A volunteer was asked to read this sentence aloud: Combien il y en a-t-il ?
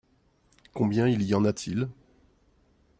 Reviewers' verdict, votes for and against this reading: accepted, 2, 0